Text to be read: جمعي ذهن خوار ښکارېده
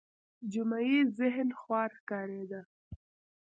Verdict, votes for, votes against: rejected, 1, 2